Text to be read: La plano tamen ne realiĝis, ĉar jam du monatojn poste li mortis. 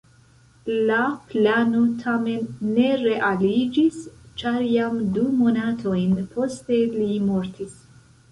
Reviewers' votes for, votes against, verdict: 0, 2, rejected